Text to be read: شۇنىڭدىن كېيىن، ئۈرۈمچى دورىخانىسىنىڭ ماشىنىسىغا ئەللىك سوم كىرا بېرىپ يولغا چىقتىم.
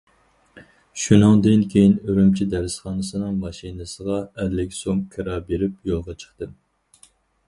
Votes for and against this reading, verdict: 2, 2, rejected